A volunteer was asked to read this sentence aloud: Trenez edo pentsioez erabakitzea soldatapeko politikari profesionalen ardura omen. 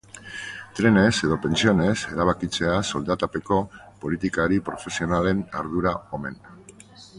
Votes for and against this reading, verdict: 0, 2, rejected